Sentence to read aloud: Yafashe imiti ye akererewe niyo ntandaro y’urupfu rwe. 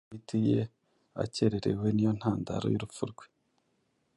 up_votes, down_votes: 1, 2